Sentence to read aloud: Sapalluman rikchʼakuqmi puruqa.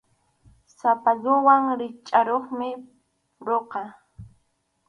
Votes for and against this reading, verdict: 0, 4, rejected